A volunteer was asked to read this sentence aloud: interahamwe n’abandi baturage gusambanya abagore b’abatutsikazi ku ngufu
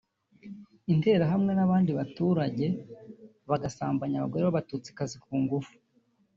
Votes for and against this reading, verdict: 1, 2, rejected